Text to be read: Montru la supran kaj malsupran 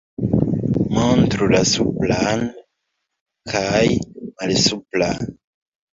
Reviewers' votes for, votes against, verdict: 1, 2, rejected